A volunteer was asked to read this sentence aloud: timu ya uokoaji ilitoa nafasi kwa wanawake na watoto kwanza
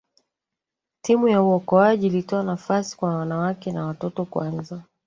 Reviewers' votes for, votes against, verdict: 1, 2, rejected